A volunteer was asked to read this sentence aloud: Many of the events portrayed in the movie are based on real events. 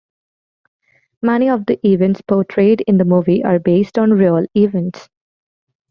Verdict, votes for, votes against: accepted, 2, 0